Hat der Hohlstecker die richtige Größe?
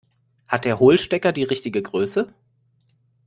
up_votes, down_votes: 2, 0